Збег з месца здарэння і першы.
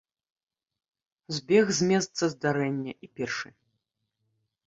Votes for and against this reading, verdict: 2, 0, accepted